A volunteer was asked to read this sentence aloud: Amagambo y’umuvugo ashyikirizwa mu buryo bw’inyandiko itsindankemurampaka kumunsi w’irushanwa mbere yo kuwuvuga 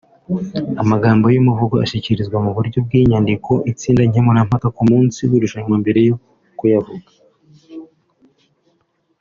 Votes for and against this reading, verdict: 1, 2, rejected